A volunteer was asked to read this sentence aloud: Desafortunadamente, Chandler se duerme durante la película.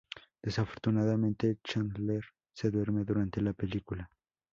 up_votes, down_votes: 2, 0